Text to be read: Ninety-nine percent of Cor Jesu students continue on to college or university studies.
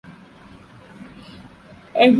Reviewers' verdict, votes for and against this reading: rejected, 0, 2